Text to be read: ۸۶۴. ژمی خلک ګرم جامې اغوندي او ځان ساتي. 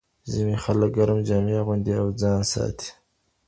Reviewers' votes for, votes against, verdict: 0, 2, rejected